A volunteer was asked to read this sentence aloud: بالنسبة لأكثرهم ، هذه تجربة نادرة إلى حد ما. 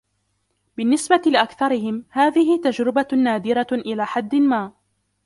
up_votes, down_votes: 0, 2